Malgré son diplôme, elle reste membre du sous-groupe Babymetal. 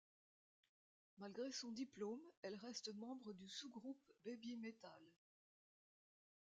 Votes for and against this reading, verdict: 2, 1, accepted